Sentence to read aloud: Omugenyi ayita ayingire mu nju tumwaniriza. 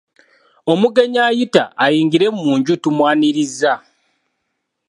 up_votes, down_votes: 2, 0